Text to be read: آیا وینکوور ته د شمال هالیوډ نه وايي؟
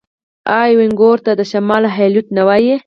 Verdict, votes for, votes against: accepted, 4, 2